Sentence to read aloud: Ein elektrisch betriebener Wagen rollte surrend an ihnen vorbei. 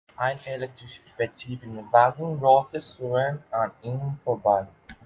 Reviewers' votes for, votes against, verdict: 1, 2, rejected